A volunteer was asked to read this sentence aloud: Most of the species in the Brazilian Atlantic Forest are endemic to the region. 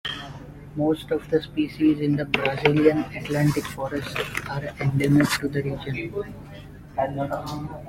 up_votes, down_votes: 0, 2